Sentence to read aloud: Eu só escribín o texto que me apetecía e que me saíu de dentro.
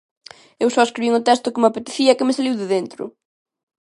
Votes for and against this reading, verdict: 1, 2, rejected